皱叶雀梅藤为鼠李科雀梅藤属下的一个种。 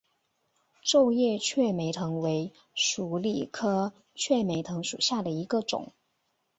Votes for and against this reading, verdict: 1, 2, rejected